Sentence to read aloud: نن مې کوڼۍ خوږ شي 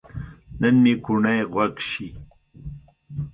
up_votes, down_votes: 2, 0